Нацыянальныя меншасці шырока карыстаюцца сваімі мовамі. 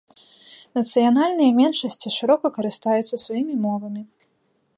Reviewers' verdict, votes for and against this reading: accepted, 2, 0